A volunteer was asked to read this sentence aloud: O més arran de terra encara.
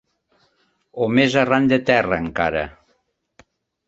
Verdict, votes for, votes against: accepted, 3, 0